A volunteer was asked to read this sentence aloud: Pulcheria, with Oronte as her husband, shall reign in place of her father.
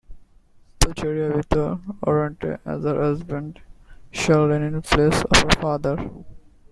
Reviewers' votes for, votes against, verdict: 1, 2, rejected